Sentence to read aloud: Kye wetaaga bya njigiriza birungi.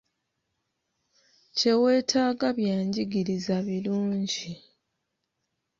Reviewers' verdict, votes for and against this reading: accepted, 2, 0